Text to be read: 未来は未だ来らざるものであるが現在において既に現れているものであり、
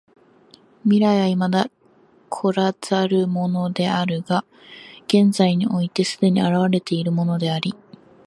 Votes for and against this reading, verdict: 2, 0, accepted